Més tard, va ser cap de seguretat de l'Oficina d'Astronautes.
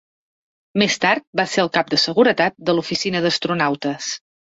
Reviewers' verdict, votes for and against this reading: rejected, 2, 3